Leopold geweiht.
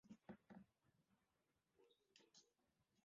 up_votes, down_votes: 0, 2